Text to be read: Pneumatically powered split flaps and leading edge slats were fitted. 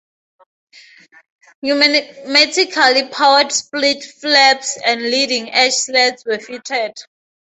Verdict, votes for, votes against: rejected, 2, 2